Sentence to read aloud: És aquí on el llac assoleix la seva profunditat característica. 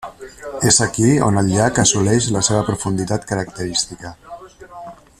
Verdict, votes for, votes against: rejected, 1, 2